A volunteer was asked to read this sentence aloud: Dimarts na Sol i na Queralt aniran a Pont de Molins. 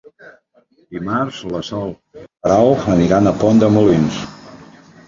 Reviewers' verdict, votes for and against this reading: rejected, 1, 2